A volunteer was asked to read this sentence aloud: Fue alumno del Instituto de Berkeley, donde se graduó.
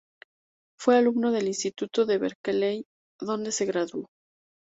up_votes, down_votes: 2, 2